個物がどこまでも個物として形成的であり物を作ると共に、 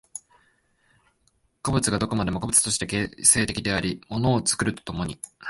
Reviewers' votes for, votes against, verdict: 0, 2, rejected